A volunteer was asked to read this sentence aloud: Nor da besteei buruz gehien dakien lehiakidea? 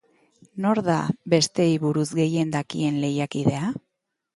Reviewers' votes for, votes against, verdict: 2, 0, accepted